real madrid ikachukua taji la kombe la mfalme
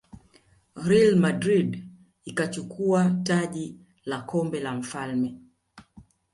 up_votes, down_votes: 3, 0